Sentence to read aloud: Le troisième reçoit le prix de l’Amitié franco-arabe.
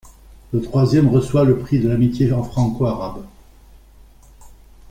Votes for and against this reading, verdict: 1, 2, rejected